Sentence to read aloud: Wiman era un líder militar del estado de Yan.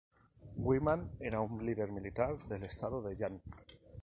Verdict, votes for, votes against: rejected, 0, 4